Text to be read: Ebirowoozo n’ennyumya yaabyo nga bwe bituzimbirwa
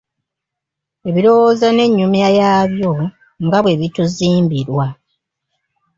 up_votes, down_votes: 1, 2